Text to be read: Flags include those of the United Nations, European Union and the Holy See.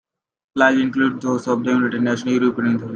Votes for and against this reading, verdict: 0, 2, rejected